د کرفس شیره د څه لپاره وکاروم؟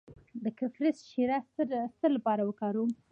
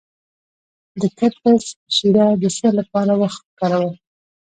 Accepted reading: first